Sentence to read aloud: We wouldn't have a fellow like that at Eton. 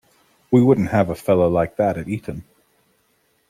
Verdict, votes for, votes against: accepted, 2, 0